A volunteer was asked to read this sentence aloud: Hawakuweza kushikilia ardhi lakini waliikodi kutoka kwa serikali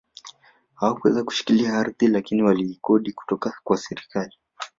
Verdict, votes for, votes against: rejected, 1, 2